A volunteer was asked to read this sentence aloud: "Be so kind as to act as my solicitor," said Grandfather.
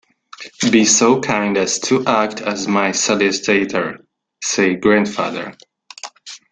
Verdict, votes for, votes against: rejected, 0, 2